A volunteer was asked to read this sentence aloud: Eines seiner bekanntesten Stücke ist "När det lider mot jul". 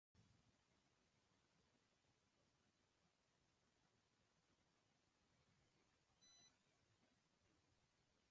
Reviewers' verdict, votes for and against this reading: rejected, 0, 2